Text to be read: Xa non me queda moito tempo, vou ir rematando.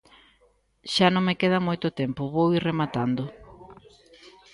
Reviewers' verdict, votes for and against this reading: rejected, 0, 2